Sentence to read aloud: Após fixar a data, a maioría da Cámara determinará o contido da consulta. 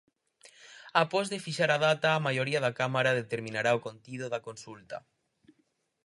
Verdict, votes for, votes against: rejected, 0, 4